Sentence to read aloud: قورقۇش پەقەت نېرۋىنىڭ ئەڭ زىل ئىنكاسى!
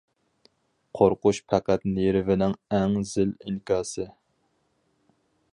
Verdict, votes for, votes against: accepted, 4, 0